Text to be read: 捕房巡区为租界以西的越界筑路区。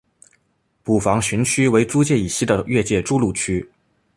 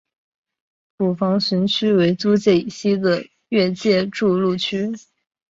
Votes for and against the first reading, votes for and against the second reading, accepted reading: 2, 0, 1, 3, first